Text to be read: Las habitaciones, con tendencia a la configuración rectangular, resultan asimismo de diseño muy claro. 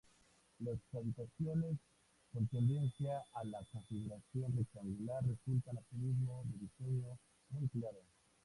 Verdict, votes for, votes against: rejected, 0, 2